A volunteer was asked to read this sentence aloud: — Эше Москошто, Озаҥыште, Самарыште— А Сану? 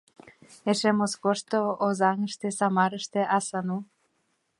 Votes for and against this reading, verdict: 1, 2, rejected